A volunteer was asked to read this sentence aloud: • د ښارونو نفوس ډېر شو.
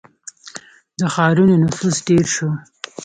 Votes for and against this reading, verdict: 3, 0, accepted